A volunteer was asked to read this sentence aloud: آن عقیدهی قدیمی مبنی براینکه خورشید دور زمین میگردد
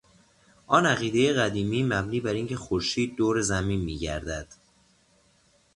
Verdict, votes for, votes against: accepted, 2, 0